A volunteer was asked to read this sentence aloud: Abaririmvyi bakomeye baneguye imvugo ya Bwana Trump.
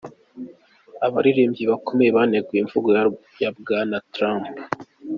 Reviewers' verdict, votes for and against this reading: rejected, 0, 2